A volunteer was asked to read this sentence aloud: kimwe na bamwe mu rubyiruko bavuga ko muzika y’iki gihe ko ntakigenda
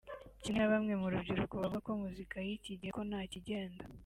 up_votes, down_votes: 2, 0